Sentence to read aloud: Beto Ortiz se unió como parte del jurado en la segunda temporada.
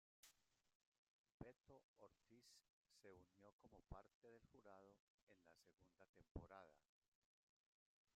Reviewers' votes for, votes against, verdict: 0, 2, rejected